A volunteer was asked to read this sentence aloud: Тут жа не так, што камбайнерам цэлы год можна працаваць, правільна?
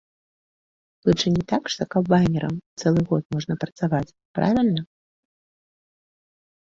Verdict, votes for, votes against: rejected, 0, 2